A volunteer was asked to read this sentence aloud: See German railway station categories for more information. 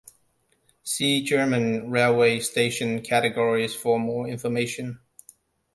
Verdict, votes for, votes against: accepted, 2, 0